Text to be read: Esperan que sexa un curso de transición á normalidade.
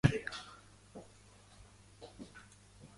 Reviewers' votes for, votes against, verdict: 0, 3, rejected